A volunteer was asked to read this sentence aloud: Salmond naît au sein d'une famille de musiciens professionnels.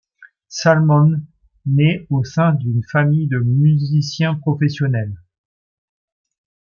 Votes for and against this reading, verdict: 2, 0, accepted